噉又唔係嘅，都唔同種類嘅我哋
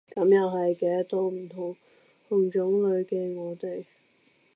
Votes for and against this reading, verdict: 0, 2, rejected